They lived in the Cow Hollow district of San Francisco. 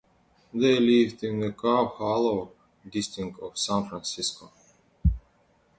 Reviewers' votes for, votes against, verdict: 0, 2, rejected